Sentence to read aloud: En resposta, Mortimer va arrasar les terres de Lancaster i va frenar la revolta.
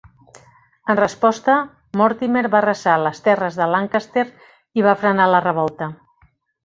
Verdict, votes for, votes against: accepted, 2, 0